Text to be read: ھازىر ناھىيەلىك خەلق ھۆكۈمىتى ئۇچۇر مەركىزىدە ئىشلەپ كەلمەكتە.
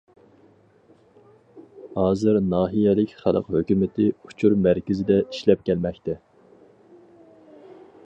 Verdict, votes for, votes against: accepted, 4, 0